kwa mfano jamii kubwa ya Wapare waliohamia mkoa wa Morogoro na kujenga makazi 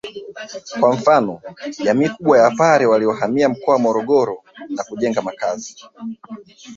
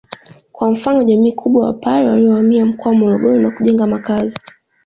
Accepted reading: second